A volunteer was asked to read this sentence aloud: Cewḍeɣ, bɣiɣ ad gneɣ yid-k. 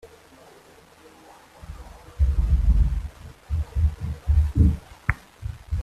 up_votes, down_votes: 0, 2